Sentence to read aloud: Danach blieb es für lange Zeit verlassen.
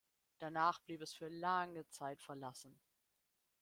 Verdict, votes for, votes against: accepted, 2, 0